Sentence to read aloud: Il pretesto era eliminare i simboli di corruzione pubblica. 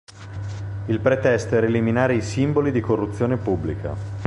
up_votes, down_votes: 2, 0